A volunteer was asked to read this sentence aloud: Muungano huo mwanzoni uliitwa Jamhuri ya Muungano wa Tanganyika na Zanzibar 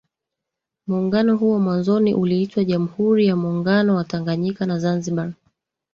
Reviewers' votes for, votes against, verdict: 2, 1, accepted